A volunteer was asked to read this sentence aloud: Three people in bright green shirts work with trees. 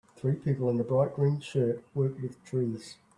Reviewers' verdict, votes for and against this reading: rejected, 0, 2